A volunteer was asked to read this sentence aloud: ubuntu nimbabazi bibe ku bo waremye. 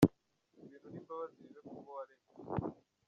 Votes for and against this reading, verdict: 0, 2, rejected